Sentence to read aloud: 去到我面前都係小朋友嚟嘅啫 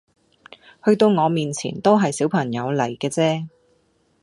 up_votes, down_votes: 2, 0